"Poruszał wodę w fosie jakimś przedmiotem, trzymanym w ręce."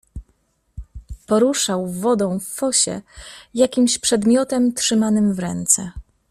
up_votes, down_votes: 1, 2